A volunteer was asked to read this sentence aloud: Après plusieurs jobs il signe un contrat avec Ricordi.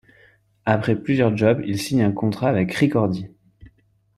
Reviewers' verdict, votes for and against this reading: accepted, 2, 1